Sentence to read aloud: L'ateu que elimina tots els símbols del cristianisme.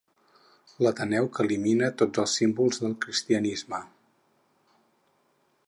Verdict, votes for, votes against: rejected, 0, 4